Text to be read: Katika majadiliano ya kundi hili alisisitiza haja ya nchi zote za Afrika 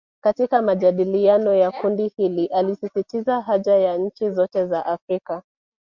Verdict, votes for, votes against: rejected, 1, 2